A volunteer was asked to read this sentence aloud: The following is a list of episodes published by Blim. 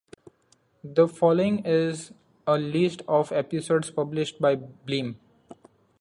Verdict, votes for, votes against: accepted, 2, 0